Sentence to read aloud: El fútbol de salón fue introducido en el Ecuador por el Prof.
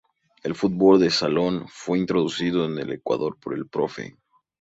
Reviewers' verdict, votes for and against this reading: rejected, 2, 2